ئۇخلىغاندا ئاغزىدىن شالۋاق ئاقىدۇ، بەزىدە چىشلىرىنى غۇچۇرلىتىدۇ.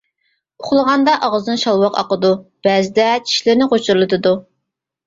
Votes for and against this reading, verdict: 2, 0, accepted